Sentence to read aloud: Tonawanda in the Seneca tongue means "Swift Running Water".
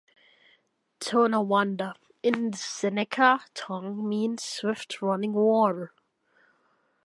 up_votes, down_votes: 1, 2